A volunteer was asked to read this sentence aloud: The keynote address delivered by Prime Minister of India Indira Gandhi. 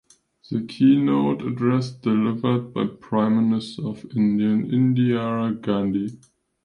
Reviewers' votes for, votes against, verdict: 2, 0, accepted